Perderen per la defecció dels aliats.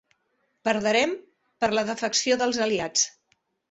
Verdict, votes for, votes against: rejected, 1, 2